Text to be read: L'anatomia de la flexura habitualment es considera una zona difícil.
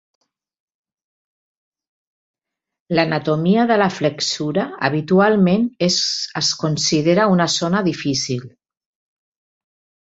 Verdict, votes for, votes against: rejected, 0, 2